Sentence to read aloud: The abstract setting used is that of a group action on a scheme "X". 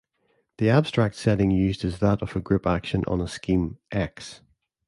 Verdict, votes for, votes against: accepted, 2, 0